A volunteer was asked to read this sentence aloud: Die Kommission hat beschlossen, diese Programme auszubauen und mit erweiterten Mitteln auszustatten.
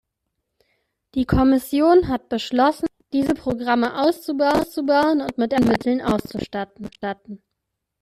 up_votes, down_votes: 0, 2